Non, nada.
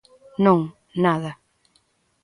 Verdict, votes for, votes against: accepted, 2, 0